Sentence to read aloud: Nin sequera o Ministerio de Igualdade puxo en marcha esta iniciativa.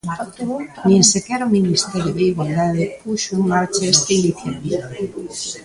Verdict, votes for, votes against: rejected, 1, 2